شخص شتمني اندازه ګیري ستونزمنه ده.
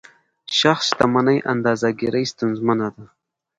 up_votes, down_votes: 2, 0